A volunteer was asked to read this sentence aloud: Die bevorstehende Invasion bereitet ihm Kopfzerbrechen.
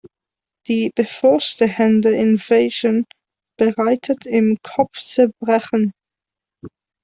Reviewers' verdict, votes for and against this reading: rejected, 0, 2